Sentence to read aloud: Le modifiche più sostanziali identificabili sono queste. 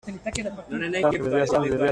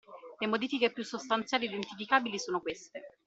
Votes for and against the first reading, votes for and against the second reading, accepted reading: 0, 2, 2, 0, second